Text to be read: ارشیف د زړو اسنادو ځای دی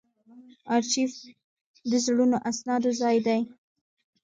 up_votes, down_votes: 1, 2